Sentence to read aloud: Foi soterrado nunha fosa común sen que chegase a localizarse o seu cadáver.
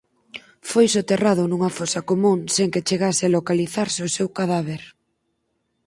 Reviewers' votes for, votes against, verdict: 6, 0, accepted